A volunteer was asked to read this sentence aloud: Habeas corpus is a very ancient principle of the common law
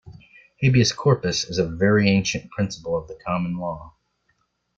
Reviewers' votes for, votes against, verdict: 2, 0, accepted